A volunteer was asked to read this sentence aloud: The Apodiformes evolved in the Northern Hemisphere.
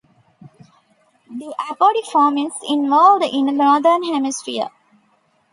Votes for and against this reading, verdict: 1, 2, rejected